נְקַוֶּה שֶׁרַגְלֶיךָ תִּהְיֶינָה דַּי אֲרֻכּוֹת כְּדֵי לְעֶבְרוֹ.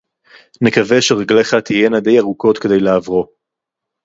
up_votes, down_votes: 0, 2